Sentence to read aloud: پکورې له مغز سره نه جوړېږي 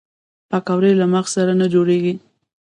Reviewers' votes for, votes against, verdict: 0, 2, rejected